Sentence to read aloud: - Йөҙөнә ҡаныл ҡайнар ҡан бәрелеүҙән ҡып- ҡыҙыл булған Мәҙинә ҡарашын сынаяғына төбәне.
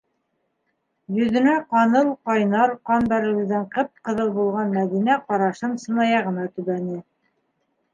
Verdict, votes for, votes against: accepted, 2, 0